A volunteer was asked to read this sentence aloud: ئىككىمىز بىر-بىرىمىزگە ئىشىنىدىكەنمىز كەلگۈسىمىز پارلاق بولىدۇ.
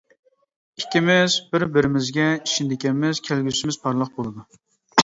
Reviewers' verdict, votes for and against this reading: accepted, 2, 0